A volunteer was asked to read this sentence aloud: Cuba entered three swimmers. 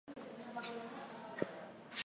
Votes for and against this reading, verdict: 0, 4, rejected